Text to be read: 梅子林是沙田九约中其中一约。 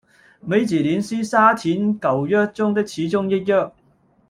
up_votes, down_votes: 0, 2